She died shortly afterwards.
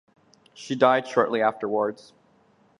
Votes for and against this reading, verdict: 4, 0, accepted